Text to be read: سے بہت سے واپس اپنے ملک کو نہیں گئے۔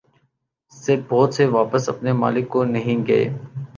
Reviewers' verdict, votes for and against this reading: rejected, 0, 2